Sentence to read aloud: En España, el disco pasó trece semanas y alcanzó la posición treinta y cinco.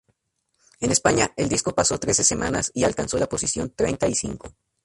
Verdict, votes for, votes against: accepted, 2, 0